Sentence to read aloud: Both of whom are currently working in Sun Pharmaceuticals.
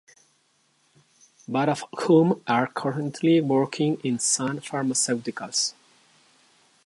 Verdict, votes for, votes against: rejected, 0, 2